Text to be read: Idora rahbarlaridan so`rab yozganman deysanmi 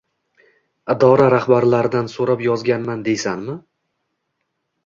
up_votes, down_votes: 1, 2